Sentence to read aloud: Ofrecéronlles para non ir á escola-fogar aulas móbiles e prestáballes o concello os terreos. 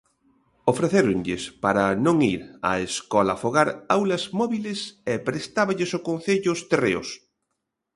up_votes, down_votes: 2, 0